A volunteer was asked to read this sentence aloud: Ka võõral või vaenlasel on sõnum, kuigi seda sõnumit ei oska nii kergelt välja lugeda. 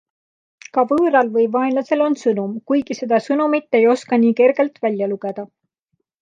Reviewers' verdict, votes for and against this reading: accepted, 2, 0